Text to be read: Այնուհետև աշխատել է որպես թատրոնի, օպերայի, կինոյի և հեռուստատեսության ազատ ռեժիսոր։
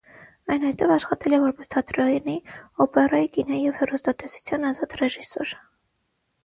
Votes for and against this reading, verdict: 0, 6, rejected